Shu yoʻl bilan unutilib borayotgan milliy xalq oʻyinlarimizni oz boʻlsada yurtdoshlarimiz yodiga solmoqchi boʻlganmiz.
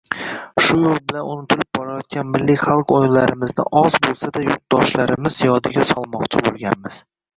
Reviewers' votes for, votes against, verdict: 0, 2, rejected